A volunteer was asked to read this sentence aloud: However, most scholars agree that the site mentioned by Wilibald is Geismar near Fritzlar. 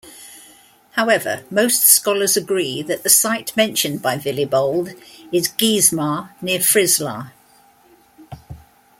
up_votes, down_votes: 0, 2